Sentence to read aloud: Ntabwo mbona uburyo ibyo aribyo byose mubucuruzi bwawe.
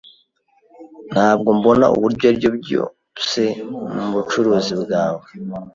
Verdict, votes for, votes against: rejected, 1, 2